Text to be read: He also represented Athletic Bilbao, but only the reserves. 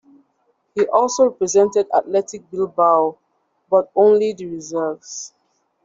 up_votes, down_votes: 2, 0